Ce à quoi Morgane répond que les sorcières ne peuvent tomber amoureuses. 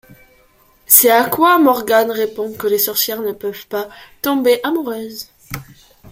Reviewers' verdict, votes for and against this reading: rejected, 1, 2